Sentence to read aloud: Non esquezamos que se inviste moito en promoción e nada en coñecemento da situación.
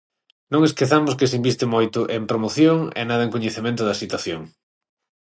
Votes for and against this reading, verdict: 6, 0, accepted